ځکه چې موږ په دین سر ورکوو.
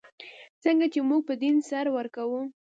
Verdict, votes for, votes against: rejected, 1, 2